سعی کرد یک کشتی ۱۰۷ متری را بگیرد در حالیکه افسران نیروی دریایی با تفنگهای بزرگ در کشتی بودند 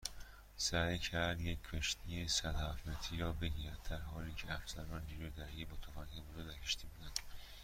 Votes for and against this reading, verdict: 0, 2, rejected